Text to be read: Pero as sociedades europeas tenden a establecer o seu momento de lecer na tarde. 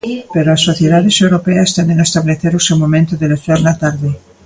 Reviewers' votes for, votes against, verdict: 1, 2, rejected